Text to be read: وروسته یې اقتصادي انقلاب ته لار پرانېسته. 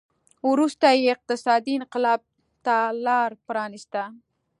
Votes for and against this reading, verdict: 2, 0, accepted